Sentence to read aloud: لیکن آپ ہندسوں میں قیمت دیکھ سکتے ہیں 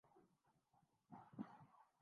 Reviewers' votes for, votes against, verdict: 0, 2, rejected